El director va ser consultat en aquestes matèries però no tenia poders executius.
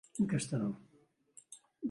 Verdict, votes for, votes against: rejected, 0, 2